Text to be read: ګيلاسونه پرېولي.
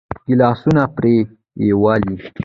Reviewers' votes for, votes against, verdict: 1, 2, rejected